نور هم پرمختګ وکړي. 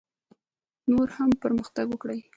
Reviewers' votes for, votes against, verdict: 1, 3, rejected